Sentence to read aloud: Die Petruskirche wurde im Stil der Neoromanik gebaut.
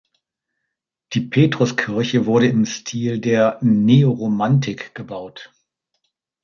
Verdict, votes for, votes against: rejected, 0, 2